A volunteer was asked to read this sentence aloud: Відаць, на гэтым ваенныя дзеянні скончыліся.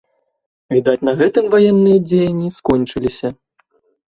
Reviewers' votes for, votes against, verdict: 2, 0, accepted